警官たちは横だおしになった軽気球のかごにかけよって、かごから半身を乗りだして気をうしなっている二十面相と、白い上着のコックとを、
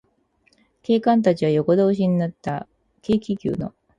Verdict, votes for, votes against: rejected, 0, 4